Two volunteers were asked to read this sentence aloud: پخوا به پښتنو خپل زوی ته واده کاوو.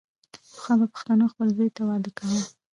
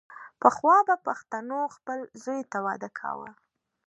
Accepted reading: second